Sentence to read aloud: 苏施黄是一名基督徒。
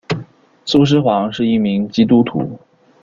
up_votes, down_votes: 2, 0